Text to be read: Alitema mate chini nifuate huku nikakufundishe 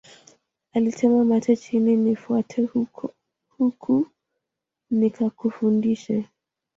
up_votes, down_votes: 1, 2